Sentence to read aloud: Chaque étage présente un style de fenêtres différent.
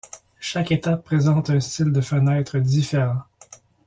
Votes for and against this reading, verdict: 1, 2, rejected